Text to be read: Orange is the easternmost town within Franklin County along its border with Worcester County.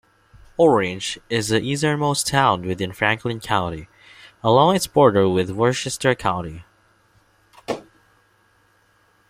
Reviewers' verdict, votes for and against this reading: accepted, 2, 0